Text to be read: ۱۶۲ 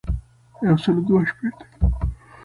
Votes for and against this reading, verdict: 0, 2, rejected